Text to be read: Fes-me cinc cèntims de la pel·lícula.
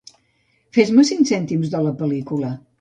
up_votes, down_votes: 2, 0